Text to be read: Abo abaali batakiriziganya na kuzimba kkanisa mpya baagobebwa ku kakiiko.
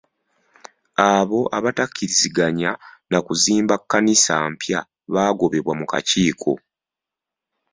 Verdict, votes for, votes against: rejected, 1, 2